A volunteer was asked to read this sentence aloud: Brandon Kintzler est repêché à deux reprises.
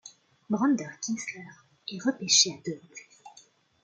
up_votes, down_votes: 1, 2